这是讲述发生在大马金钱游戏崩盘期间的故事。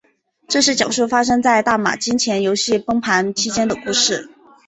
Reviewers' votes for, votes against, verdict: 0, 2, rejected